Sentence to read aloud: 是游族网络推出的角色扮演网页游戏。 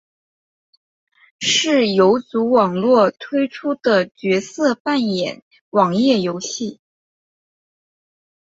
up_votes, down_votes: 2, 0